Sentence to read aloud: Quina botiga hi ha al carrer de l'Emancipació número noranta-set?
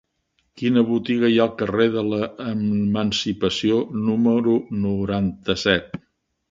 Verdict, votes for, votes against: rejected, 1, 2